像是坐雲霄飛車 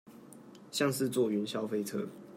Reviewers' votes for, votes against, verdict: 0, 2, rejected